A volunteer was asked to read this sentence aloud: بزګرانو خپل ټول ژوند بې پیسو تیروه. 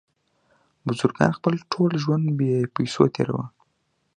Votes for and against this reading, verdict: 1, 2, rejected